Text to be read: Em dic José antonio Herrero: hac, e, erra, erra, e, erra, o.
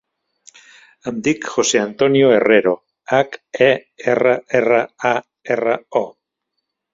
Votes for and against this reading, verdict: 0, 2, rejected